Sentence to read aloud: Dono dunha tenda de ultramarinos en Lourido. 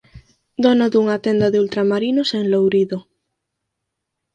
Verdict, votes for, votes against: accepted, 4, 0